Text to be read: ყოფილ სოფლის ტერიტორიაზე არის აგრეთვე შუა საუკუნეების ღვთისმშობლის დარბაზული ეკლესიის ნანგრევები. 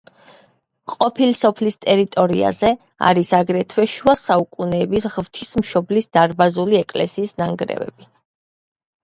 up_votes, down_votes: 2, 1